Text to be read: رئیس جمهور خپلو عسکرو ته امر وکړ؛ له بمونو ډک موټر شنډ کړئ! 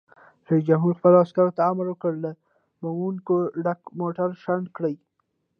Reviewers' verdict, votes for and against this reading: rejected, 1, 2